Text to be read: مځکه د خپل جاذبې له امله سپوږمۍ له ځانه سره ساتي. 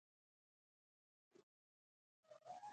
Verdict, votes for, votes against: rejected, 0, 2